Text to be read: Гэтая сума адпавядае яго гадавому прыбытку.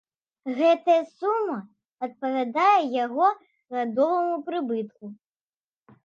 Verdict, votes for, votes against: rejected, 0, 2